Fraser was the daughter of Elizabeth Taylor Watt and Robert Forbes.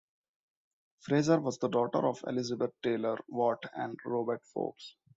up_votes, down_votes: 2, 1